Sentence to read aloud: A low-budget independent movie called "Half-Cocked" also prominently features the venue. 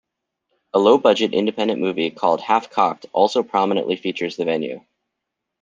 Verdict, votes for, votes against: accepted, 2, 0